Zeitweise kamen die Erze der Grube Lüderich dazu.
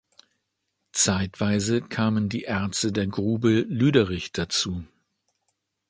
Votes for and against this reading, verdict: 2, 0, accepted